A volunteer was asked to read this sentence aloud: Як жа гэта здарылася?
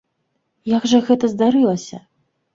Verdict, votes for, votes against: rejected, 1, 2